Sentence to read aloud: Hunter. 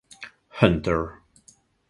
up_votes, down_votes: 4, 0